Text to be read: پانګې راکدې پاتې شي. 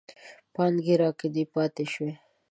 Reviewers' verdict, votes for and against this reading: accepted, 2, 0